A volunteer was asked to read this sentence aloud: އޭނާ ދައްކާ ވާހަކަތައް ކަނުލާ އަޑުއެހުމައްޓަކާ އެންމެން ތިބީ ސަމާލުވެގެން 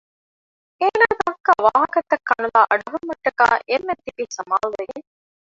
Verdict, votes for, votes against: rejected, 1, 2